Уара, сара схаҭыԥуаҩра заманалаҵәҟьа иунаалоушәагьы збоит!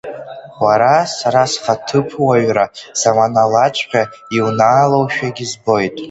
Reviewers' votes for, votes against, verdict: 2, 1, accepted